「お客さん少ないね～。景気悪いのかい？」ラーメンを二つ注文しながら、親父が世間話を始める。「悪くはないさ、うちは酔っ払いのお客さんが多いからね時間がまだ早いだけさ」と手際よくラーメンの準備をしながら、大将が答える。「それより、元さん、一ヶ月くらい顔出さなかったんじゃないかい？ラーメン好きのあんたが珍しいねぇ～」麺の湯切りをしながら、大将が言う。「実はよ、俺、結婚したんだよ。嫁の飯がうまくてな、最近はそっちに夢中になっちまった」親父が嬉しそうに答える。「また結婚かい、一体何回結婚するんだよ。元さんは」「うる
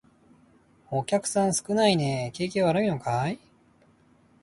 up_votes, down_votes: 0, 2